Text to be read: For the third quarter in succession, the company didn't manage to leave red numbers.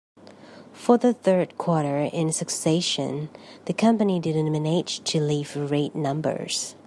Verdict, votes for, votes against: rejected, 1, 2